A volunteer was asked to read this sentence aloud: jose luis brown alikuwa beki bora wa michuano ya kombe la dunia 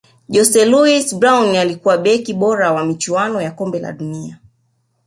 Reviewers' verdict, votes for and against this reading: accepted, 2, 0